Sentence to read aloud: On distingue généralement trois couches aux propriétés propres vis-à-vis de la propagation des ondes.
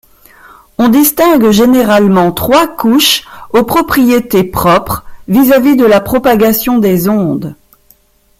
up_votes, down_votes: 2, 0